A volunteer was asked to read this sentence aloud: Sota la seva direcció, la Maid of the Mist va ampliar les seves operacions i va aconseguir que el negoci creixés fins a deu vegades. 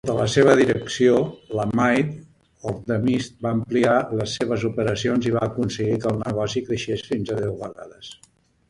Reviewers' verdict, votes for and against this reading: rejected, 0, 2